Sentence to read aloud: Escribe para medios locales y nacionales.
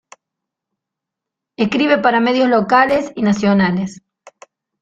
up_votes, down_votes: 2, 1